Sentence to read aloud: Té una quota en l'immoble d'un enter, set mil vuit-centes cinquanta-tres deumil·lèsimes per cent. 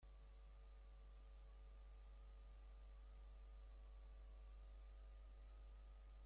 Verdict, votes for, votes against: rejected, 0, 2